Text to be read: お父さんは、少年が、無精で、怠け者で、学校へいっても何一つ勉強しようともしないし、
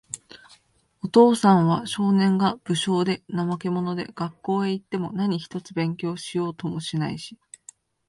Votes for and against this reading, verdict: 2, 0, accepted